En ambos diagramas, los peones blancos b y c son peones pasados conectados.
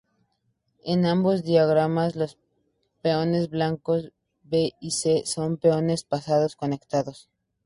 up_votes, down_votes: 2, 0